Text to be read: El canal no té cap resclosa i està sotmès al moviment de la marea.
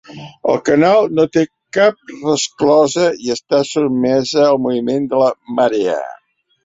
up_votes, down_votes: 1, 2